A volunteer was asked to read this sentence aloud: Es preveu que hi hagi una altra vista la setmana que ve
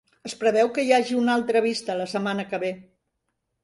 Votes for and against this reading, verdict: 3, 0, accepted